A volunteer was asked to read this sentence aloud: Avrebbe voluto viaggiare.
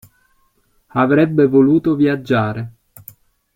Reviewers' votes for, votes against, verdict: 2, 0, accepted